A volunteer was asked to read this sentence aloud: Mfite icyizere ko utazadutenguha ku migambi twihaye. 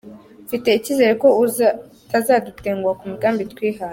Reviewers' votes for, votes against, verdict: 2, 0, accepted